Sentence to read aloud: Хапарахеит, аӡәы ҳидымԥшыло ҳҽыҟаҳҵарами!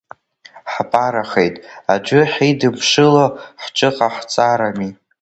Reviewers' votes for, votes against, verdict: 1, 2, rejected